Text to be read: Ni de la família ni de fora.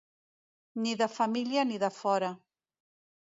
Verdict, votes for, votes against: rejected, 1, 2